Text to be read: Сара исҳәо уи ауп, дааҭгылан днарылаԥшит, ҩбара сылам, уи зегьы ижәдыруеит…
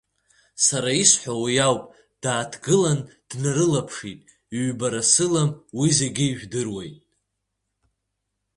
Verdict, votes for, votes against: accepted, 5, 0